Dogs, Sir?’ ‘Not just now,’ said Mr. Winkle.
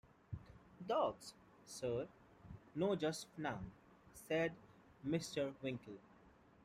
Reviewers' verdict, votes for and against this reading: accepted, 2, 0